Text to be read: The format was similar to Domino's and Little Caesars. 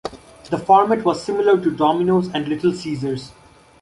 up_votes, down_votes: 2, 0